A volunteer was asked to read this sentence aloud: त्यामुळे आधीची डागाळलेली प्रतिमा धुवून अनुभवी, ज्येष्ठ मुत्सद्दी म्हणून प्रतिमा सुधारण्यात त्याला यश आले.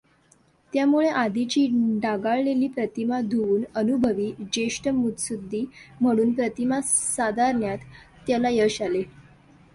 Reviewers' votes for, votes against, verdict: 2, 0, accepted